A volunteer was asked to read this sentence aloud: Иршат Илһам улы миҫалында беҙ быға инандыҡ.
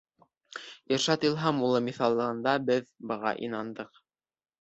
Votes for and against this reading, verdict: 1, 2, rejected